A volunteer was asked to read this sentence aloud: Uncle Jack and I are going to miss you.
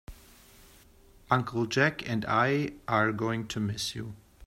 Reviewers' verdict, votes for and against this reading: accepted, 2, 0